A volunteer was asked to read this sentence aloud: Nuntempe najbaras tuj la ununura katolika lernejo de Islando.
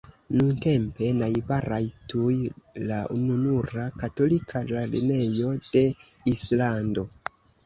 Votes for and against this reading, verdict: 2, 0, accepted